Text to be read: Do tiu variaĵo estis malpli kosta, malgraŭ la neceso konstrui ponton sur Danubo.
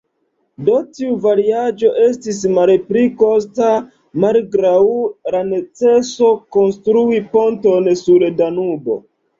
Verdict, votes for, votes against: rejected, 1, 2